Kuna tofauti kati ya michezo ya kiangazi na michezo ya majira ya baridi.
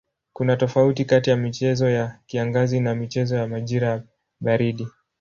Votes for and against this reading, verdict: 3, 0, accepted